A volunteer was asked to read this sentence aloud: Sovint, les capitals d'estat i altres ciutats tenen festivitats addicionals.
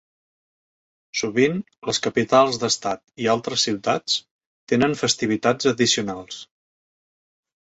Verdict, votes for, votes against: accepted, 2, 0